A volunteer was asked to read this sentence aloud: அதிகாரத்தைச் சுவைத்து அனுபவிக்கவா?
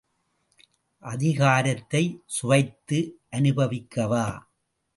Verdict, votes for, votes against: accepted, 2, 0